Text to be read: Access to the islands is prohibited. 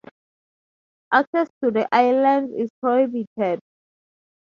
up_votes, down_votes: 2, 0